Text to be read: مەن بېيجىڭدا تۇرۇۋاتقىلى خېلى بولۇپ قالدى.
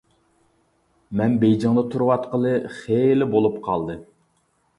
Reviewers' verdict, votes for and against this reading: accepted, 2, 0